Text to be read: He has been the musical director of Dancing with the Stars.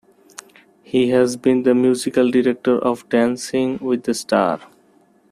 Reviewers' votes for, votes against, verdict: 0, 2, rejected